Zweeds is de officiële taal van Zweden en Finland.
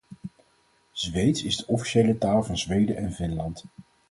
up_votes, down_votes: 4, 0